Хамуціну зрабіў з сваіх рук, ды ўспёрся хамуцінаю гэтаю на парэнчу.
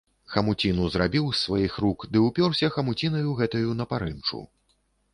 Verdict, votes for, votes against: rejected, 1, 2